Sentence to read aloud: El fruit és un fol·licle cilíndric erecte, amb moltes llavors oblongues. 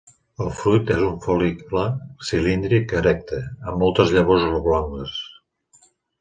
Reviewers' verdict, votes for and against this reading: accepted, 2, 0